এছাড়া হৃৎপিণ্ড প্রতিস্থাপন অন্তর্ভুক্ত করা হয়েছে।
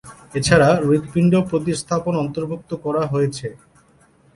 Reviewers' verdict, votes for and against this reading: accepted, 6, 0